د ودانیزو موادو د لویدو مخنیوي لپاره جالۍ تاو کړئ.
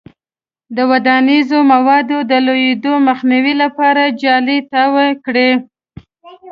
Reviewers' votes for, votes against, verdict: 1, 2, rejected